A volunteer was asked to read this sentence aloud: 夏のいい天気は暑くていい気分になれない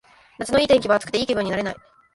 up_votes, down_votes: 2, 1